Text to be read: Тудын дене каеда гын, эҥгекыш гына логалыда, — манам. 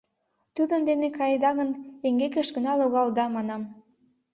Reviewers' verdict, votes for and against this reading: accepted, 2, 0